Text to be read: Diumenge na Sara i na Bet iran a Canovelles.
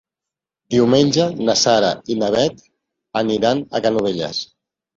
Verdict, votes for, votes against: rejected, 0, 2